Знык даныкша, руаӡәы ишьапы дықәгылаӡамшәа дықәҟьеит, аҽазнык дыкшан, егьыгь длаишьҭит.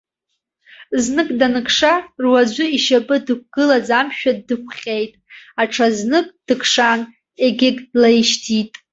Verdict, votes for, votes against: accepted, 2, 0